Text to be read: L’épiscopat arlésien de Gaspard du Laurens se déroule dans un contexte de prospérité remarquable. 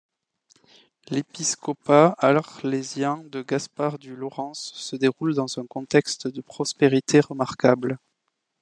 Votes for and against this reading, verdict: 2, 0, accepted